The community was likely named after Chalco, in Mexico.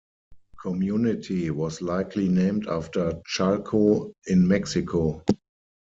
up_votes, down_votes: 0, 4